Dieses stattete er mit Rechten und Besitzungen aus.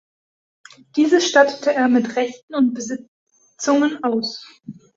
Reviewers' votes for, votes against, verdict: 1, 2, rejected